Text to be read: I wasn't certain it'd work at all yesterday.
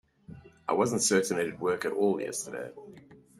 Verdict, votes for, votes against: accepted, 2, 0